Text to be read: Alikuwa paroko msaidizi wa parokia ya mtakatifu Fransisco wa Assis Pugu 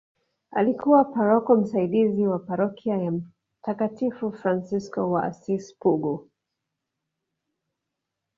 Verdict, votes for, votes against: rejected, 0, 2